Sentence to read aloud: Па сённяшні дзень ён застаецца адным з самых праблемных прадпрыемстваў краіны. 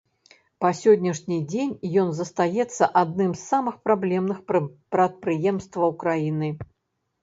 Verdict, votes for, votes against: rejected, 0, 3